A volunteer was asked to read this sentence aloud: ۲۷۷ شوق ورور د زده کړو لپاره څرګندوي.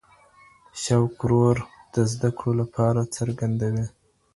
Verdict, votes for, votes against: rejected, 0, 2